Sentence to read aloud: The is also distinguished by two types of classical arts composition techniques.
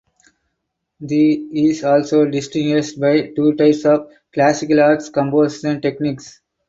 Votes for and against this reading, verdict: 4, 0, accepted